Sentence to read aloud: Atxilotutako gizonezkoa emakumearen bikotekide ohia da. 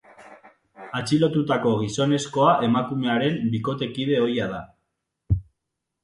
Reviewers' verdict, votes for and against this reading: accepted, 2, 0